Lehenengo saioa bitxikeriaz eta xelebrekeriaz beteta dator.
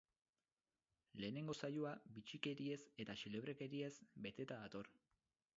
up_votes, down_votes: 0, 2